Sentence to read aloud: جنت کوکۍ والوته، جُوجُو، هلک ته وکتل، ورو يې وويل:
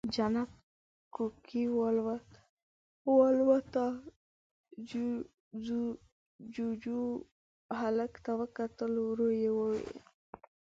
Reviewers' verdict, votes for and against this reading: rejected, 0, 2